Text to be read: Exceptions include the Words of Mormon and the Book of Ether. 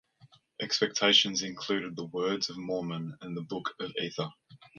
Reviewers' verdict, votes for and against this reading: rejected, 0, 2